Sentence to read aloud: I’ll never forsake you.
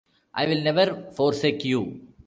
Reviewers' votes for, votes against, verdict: 0, 2, rejected